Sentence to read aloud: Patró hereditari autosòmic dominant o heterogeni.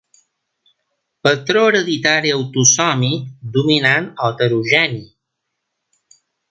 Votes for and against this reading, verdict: 2, 0, accepted